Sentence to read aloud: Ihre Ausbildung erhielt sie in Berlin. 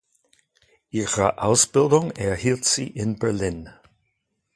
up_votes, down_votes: 2, 0